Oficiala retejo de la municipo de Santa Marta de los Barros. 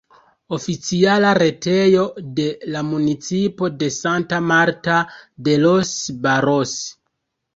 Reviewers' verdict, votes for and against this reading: accepted, 2, 0